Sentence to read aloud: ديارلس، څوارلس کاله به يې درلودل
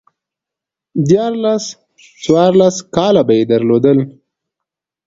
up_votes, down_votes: 2, 0